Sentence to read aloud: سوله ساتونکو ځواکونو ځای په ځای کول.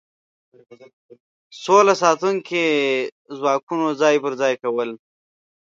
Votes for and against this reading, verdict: 1, 2, rejected